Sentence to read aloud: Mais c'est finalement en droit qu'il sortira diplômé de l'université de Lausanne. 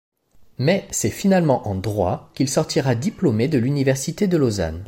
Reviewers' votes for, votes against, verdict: 2, 0, accepted